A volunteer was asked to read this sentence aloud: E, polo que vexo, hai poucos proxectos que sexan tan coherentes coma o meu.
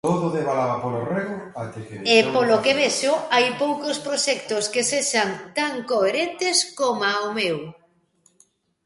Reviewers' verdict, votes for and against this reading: rejected, 0, 2